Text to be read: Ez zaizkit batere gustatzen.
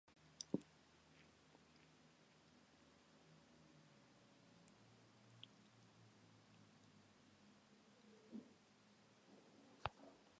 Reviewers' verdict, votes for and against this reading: rejected, 0, 3